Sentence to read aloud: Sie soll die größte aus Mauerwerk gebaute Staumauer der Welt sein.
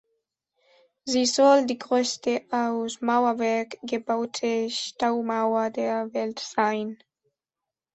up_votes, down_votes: 2, 1